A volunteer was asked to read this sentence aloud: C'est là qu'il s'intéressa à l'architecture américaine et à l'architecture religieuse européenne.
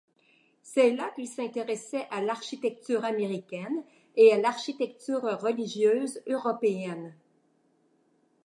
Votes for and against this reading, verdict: 0, 2, rejected